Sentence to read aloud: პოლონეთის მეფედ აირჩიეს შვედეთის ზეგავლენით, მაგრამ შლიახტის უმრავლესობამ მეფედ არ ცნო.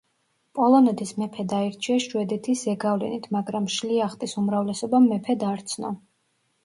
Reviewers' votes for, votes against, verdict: 2, 1, accepted